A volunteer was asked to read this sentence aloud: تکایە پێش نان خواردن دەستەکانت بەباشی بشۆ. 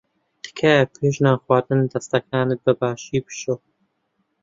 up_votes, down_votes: 3, 0